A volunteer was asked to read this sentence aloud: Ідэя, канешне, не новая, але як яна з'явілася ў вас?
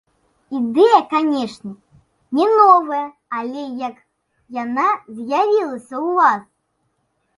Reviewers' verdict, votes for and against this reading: accepted, 2, 0